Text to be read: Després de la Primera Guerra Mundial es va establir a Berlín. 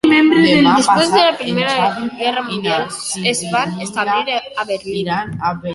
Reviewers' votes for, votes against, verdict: 0, 2, rejected